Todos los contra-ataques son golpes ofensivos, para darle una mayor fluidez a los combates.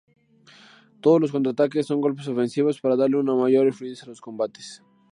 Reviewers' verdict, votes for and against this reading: accepted, 2, 0